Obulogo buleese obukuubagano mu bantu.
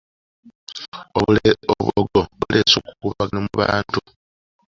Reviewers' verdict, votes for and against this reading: rejected, 1, 2